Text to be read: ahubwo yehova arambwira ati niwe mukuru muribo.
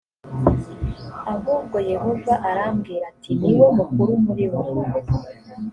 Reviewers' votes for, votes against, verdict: 2, 0, accepted